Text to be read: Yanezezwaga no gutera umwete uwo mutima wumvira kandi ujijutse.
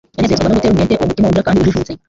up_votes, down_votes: 1, 2